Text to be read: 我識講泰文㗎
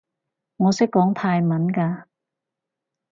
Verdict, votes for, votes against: accepted, 4, 0